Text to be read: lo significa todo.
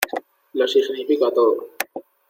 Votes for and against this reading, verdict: 2, 0, accepted